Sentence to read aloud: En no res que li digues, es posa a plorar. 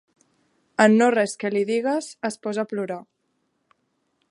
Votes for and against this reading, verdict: 3, 0, accepted